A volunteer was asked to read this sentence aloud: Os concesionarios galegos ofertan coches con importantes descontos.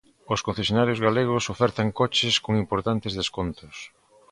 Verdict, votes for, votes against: accepted, 2, 0